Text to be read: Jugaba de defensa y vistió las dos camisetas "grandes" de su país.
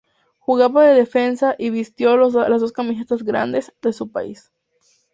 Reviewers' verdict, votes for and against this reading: accepted, 2, 0